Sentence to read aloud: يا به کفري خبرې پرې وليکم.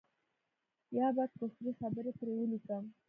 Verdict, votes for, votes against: rejected, 1, 2